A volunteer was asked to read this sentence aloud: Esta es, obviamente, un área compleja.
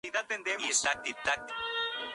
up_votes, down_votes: 0, 2